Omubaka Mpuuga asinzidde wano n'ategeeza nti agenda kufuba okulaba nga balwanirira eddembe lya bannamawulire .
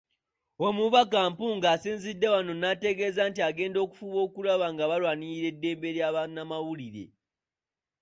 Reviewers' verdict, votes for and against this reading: rejected, 1, 2